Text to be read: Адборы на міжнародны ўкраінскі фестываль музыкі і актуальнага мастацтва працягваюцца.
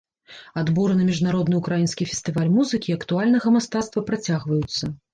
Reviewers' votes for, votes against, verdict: 2, 0, accepted